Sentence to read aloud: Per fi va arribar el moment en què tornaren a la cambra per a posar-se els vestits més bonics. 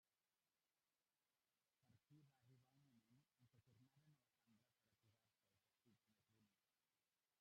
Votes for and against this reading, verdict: 0, 2, rejected